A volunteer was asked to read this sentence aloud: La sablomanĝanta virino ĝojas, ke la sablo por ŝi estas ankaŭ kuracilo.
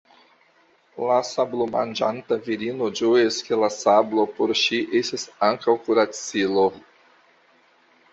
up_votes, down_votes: 2, 1